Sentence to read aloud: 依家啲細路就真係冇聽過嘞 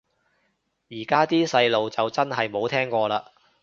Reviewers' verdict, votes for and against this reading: rejected, 1, 2